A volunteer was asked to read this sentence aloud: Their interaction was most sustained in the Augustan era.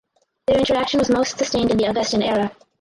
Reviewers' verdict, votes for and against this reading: rejected, 0, 4